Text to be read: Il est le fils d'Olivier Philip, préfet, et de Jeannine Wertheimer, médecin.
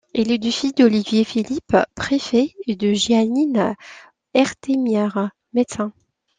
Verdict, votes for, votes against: rejected, 1, 2